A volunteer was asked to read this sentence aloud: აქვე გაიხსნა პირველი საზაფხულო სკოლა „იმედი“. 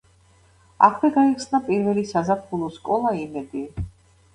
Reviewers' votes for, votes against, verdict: 2, 0, accepted